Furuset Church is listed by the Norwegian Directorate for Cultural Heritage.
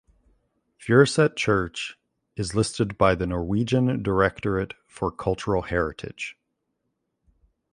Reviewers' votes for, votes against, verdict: 2, 0, accepted